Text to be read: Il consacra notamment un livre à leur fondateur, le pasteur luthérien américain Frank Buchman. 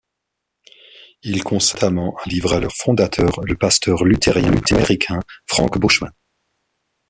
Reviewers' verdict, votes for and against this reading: rejected, 1, 2